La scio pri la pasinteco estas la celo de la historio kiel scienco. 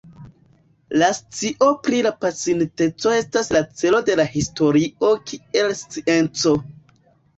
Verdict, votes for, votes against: rejected, 1, 2